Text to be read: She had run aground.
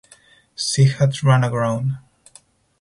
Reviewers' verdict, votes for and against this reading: accepted, 2, 0